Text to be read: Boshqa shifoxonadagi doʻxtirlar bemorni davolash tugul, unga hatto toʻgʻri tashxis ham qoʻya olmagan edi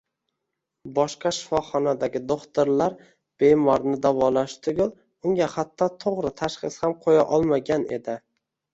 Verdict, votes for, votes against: rejected, 1, 2